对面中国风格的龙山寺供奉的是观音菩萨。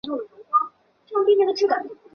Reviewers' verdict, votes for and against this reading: rejected, 0, 6